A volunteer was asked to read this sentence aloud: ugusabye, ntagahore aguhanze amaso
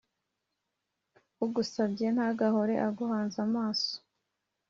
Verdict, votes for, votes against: accepted, 2, 0